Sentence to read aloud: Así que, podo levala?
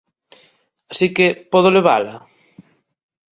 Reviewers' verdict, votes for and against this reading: accepted, 2, 0